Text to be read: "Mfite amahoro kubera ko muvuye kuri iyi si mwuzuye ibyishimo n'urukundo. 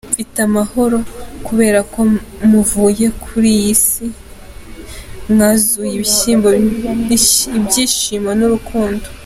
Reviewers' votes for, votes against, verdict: 0, 2, rejected